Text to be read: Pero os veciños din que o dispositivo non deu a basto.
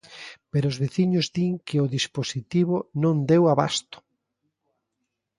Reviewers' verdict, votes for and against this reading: accepted, 2, 0